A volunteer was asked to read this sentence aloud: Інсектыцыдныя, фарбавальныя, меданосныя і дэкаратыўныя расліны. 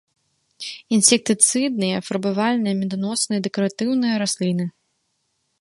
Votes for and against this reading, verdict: 2, 0, accepted